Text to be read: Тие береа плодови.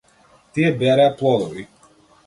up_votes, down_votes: 2, 0